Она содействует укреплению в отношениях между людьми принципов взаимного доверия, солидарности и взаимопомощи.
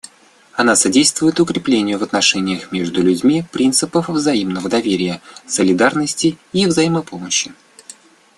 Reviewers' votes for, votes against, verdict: 2, 0, accepted